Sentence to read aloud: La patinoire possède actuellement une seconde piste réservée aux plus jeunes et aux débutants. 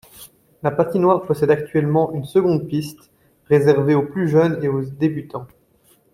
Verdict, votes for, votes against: accepted, 2, 0